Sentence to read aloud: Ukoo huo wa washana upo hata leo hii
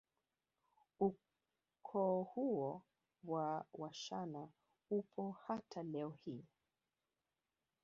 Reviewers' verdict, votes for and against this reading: rejected, 0, 2